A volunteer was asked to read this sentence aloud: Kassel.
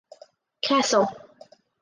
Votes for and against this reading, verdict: 4, 2, accepted